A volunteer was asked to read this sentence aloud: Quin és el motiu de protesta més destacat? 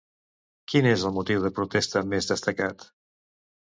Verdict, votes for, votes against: accepted, 2, 0